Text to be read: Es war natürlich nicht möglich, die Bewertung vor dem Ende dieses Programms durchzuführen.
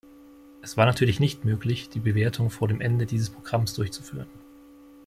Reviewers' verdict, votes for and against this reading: accepted, 2, 0